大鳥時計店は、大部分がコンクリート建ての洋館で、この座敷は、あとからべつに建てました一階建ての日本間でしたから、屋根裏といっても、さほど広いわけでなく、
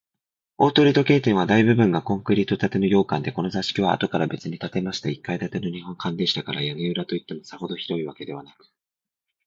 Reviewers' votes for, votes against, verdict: 2, 0, accepted